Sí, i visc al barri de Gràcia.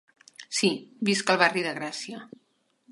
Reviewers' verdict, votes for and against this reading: rejected, 0, 2